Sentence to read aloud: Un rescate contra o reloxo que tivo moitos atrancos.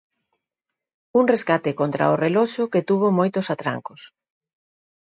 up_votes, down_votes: 0, 2